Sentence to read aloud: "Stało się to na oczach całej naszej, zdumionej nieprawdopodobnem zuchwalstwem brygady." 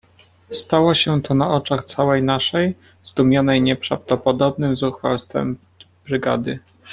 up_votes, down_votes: 1, 2